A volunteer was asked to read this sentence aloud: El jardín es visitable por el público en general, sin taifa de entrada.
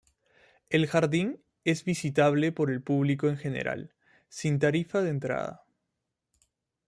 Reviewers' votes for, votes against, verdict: 1, 2, rejected